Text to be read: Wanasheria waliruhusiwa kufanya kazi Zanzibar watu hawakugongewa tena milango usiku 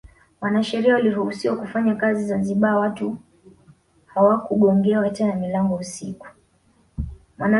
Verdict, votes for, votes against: accepted, 2, 0